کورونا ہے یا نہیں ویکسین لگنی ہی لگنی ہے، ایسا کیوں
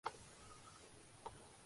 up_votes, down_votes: 0, 2